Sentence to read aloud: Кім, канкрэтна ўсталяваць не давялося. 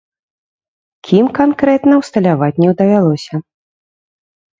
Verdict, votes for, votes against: rejected, 1, 2